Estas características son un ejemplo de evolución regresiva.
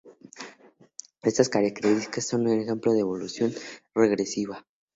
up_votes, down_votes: 2, 0